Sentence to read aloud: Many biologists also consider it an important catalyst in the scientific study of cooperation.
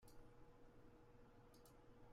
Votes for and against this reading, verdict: 0, 2, rejected